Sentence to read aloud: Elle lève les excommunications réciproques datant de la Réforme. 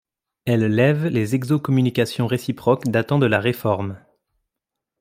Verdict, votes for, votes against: rejected, 0, 2